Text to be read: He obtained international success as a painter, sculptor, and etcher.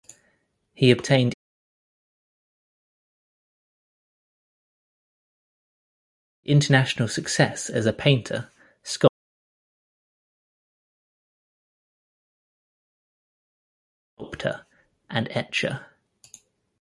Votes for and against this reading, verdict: 0, 2, rejected